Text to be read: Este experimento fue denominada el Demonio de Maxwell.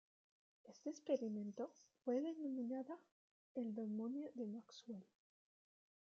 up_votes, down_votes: 1, 2